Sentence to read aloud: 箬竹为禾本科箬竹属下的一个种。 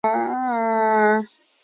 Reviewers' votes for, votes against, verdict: 0, 8, rejected